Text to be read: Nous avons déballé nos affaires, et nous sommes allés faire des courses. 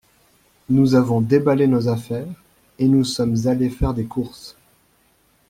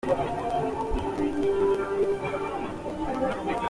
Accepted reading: first